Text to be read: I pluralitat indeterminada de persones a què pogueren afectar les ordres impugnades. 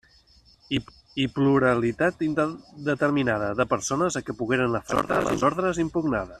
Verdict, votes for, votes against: rejected, 1, 2